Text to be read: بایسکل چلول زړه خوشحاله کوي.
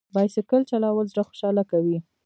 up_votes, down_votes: 0, 2